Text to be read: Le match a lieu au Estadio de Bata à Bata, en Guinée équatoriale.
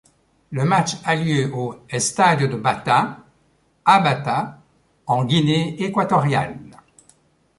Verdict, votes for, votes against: accepted, 2, 0